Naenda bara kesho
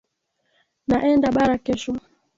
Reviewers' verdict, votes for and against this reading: accepted, 2, 0